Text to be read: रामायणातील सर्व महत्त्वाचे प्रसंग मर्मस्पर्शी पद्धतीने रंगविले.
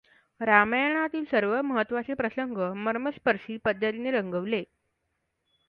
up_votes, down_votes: 2, 1